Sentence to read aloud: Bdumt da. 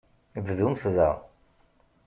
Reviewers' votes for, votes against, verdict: 2, 0, accepted